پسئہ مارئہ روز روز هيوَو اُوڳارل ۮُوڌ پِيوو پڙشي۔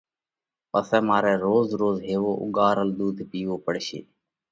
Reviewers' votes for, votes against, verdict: 2, 0, accepted